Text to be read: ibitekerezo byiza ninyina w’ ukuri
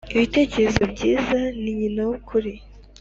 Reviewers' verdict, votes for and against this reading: accepted, 2, 0